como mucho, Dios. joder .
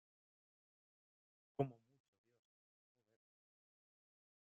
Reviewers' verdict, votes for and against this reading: rejected, 0, 2